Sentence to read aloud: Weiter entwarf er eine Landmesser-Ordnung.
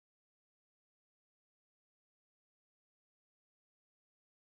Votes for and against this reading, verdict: 0, 2, rejected